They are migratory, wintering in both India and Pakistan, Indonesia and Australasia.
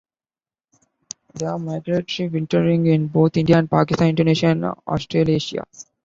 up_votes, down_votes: 0, 2